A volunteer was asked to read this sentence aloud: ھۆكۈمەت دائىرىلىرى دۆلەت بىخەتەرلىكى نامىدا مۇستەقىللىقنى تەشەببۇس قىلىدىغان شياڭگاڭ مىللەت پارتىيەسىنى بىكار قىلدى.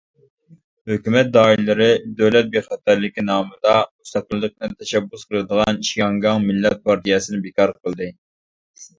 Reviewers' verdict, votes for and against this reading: rejected, 1, 2